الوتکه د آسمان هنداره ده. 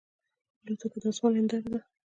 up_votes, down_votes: 2, 0